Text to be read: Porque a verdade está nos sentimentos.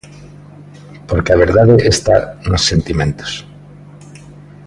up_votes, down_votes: 2, 0